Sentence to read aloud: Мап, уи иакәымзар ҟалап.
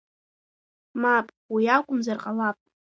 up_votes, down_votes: 2, 0